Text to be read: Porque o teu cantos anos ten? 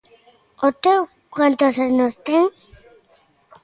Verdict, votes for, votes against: rejected, 0, 2